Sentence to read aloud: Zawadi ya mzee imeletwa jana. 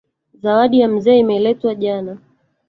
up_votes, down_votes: 1, 2